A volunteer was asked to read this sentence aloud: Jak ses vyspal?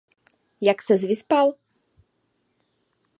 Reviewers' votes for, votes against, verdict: 2, 0, accepted